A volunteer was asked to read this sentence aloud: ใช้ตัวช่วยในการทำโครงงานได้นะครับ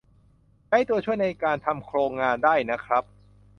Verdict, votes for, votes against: accepted, 2, 0